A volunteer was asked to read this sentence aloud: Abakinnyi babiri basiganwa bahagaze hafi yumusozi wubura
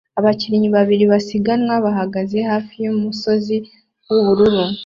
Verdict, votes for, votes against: accepted, 2, 0